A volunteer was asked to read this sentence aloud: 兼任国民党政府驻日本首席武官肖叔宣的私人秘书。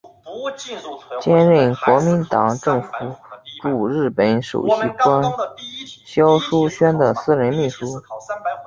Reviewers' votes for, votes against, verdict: 0, 2, rejected